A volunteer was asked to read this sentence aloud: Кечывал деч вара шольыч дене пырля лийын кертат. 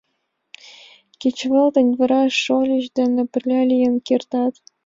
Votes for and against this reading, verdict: 1, 2, rejected